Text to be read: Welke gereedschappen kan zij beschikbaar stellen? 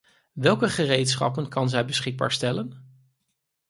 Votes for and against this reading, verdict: 4, 0, accepted